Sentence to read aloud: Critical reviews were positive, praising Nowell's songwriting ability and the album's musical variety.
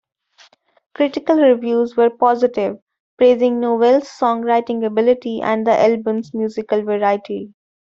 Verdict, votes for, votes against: accepted, 2, 0